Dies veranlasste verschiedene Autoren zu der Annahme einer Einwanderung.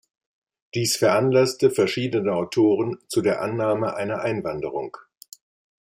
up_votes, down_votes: 2, 0